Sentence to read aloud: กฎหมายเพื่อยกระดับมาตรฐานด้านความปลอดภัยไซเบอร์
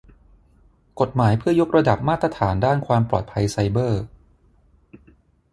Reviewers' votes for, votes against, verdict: 6, 3, accepted